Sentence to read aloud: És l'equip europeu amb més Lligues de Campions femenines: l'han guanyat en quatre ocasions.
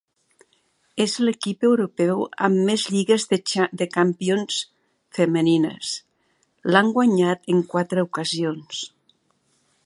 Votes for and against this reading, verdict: 1, 2, rejected